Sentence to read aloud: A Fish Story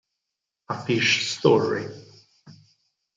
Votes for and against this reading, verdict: 2, 4, rejected